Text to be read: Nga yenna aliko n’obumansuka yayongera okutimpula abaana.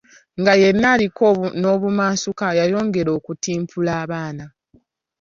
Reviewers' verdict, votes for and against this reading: accepted, 2, 1